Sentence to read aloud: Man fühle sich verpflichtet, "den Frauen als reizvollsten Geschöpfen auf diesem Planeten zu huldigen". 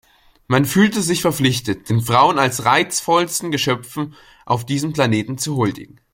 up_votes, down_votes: 1, 2